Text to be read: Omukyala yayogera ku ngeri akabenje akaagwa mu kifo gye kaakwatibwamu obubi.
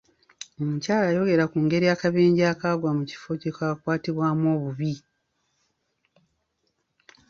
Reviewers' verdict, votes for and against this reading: accepted, 2, 0